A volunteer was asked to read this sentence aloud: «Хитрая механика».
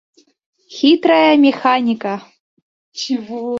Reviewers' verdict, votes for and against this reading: rejected, 1, 2